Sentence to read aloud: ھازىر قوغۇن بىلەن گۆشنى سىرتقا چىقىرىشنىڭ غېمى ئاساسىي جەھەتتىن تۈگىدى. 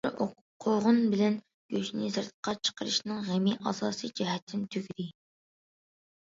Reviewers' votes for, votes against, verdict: 1, 2, rejected